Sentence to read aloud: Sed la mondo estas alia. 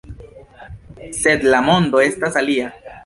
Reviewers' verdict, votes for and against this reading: accepted, 2, 0